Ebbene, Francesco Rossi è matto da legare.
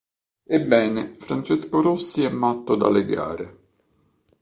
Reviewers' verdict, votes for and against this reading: accepted, 2, 0